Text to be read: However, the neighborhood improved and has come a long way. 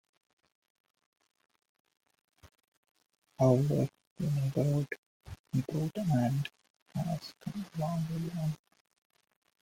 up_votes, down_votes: 1, 2